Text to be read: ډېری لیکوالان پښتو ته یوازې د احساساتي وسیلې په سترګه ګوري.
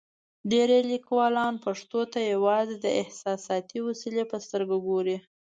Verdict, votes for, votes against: accepted, 2, 0